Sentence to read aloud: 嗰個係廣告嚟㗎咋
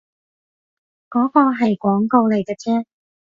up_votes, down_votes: 0, 2